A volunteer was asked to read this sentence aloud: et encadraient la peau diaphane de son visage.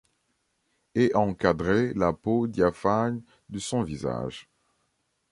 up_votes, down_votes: 2, 0